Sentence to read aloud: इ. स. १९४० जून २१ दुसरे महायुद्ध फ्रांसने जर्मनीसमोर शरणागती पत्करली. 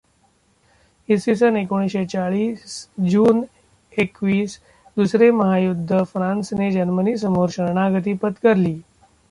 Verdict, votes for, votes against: rejected, 0, 2